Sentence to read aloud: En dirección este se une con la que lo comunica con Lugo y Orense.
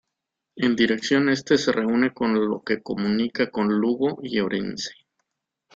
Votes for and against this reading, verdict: 0, 2, rejected